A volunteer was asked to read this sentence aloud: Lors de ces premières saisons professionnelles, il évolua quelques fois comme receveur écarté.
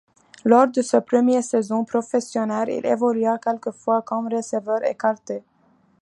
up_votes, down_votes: 2, 0